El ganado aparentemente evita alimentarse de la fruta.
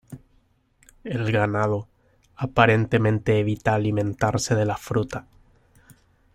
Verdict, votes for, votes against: rejected, 1, 2